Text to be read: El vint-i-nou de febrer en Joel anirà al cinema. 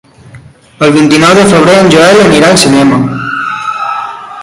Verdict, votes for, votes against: accepted, 3, 1